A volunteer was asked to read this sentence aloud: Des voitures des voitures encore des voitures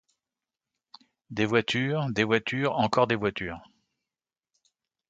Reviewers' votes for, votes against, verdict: 2, 0, accepted